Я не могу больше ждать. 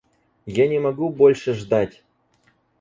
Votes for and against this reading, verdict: 4, 0, accepted